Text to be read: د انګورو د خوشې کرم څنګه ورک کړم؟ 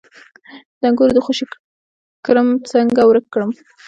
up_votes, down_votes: 1, 2